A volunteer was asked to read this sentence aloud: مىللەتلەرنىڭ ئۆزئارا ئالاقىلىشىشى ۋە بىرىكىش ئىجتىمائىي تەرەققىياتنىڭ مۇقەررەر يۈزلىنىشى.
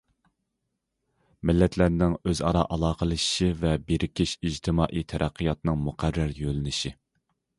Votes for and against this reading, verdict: 0, 2, rejected